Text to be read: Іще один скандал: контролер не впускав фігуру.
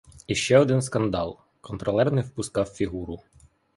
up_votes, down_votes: 3, 0